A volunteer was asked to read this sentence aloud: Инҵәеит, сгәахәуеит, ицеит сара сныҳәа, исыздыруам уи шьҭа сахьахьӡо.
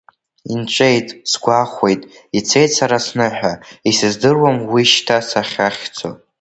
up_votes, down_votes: 0, 2